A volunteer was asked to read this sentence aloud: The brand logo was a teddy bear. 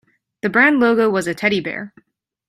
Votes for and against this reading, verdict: 2, 0, accepted